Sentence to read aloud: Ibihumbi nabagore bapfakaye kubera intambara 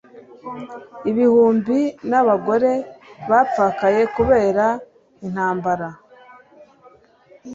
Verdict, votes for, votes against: accepted, 2, 0